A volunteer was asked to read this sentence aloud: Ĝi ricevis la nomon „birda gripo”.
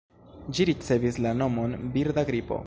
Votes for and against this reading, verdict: 0, 2, rejected